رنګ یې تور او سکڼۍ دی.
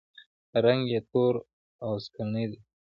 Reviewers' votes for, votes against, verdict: 2, 0, accepted